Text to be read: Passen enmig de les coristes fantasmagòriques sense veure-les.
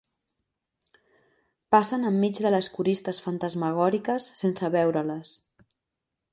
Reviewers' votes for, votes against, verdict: 2, 0, accepted